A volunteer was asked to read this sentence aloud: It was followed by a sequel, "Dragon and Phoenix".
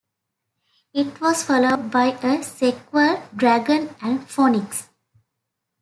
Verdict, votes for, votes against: rejected, 0, 2